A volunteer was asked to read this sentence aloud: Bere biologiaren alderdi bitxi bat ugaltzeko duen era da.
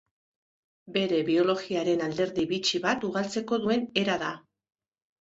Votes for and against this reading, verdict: 3, 0, accepted